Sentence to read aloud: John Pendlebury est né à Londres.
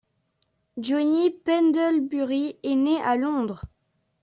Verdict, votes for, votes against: rejected, 0, 2